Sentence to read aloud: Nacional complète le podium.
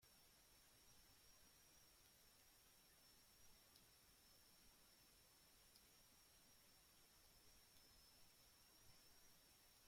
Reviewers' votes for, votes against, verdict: 0, 2, rejected